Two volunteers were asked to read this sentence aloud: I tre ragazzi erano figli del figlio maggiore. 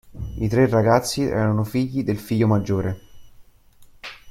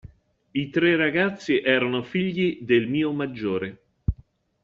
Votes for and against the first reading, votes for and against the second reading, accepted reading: 2, 0, 0, 3, first